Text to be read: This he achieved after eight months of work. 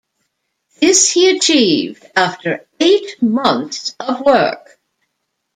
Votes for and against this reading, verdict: 2, 1, accepted